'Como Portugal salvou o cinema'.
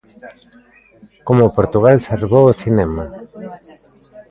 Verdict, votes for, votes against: accepted, 2, 0